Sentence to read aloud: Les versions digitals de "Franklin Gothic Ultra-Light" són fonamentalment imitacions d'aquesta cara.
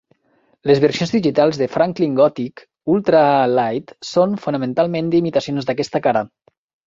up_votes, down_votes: 0, 2